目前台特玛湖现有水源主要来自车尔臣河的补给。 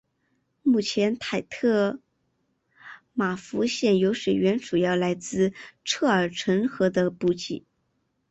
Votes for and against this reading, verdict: 4, 0, accepted